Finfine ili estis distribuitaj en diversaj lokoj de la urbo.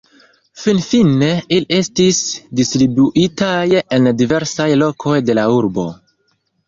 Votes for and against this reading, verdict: 1, 3, rejected